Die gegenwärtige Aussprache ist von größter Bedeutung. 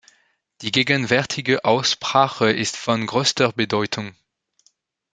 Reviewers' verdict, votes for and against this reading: rejected, 1, 2